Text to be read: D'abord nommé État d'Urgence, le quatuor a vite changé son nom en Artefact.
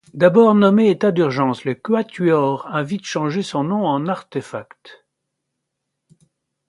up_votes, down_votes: 2, 0